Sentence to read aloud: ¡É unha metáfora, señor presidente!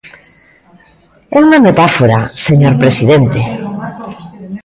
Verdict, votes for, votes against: accepted, 2, 0